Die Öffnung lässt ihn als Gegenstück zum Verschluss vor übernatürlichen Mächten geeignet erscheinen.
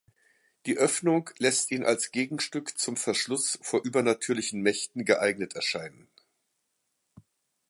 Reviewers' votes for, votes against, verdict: 2, 0, accepted